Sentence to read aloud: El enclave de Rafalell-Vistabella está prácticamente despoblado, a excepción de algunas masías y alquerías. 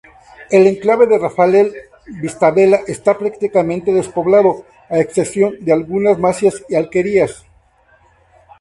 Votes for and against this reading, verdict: 2, 0, accepted